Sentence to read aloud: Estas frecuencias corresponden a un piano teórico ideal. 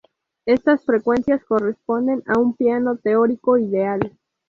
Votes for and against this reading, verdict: 0, 2, rejected